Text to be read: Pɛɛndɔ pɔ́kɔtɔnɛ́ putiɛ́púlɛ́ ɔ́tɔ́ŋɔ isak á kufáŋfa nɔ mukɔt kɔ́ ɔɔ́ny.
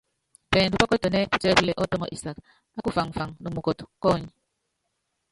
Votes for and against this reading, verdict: 0, 2, rejected